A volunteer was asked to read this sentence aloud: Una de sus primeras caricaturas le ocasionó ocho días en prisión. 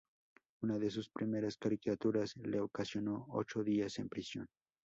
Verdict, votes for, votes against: accepted, 2, 0